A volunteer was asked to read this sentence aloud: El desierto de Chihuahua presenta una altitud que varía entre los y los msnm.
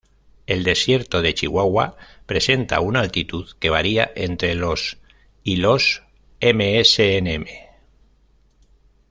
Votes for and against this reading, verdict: 2, 0, accepted